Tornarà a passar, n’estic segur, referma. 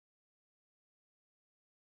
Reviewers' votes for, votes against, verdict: 0, 2, rejected